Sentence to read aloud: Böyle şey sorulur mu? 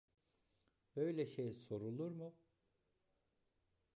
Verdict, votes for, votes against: rejected, 1, 2